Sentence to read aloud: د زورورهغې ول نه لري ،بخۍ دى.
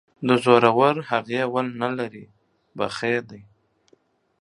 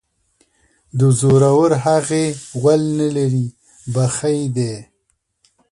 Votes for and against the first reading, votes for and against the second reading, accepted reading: 2, 1, 1, 2, first